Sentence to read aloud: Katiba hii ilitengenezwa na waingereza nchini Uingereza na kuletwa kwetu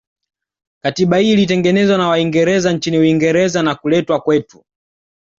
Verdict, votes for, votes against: accepted, 2, 0